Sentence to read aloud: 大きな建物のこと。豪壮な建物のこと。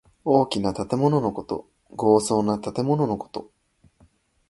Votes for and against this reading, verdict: 2, 0, accepted